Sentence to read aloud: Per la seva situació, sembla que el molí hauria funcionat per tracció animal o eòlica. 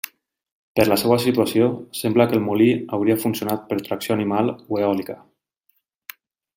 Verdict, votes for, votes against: accepted, 3, 0